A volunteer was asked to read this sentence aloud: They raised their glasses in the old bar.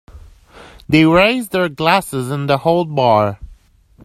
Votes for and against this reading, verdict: 1, 2, rejected